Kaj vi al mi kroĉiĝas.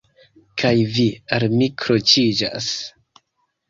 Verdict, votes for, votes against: accepted, 2, 0